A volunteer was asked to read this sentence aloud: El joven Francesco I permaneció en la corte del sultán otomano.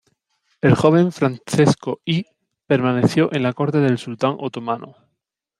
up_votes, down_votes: 0, 2